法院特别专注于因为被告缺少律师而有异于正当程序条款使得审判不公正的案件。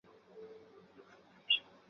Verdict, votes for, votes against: rejected, 0, 4